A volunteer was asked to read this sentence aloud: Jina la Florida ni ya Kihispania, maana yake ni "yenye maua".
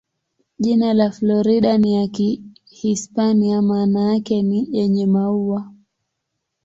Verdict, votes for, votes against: accepted, 19, 5